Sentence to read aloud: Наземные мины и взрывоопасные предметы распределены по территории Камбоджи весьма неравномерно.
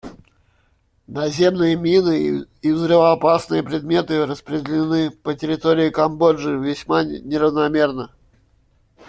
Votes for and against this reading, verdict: 1, 2, rejected